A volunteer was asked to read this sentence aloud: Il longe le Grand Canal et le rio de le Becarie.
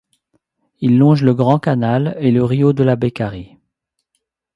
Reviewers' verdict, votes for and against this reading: rejected, 0, 2